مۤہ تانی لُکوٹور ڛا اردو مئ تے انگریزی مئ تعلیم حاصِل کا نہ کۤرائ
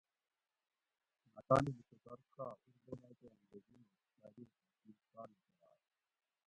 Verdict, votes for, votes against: rejected, 0, 2